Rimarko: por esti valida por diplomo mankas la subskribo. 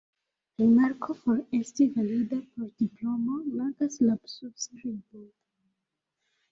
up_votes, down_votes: 0, 2